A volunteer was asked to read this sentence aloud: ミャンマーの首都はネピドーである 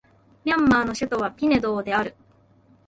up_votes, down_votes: 1, 2